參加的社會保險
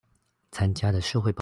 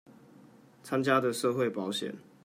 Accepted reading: second